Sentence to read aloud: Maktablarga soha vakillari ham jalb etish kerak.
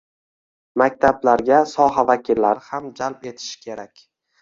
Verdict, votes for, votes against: accepted, 2, 1